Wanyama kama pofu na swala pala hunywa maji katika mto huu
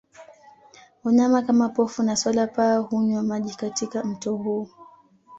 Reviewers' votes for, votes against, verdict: 2, 0, accepted